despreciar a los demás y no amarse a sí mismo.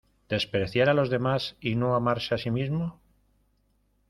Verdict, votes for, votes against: rejected, 1, 2